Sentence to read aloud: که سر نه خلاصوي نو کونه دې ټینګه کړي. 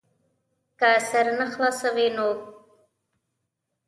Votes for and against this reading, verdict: 1, 2, rejected